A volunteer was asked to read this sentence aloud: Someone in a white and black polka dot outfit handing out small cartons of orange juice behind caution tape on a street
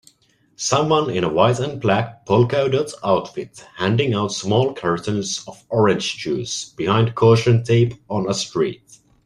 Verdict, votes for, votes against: rejected, 0, 2